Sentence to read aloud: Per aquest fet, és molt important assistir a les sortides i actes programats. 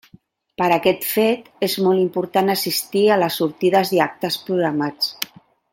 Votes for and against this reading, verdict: 0, 2, rejected